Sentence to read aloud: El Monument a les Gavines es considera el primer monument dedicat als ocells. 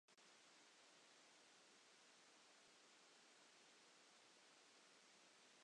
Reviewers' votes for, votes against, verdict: 0, 3, rejected